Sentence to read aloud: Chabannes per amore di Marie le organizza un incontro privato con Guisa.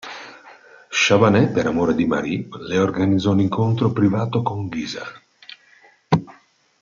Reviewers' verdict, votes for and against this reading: rejected, 0, 2